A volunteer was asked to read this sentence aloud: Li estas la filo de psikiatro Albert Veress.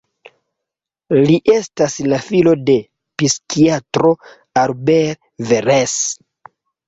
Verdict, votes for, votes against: rejected, 1, 2